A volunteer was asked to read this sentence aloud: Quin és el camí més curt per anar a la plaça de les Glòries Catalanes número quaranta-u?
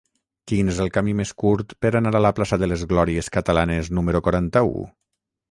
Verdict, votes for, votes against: accepted, 6, 0